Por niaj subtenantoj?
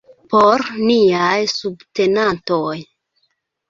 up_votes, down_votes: 0, 2